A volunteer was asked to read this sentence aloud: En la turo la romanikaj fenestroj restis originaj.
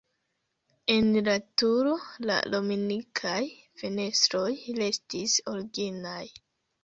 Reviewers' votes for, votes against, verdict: 1, 2, rejected